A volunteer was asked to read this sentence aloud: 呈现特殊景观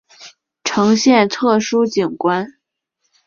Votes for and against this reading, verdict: 2, 0, accepted